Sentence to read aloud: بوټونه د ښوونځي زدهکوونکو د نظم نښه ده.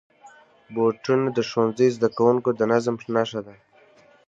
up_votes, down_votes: 3, 1